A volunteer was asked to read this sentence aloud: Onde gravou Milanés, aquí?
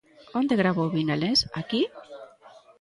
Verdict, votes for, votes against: accepted, 2, 1